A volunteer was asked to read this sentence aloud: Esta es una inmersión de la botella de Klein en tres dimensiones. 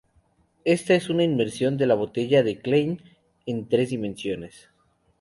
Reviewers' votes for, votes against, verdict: 2, 0, accepted